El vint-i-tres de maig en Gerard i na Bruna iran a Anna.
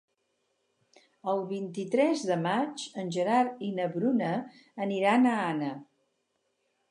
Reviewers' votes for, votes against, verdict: 2, 0, accepted